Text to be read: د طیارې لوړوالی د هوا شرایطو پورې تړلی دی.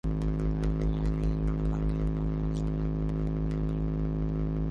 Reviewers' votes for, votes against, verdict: 0, 2, rejected